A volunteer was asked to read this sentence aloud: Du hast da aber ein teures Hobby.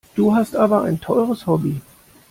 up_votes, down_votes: 1, 2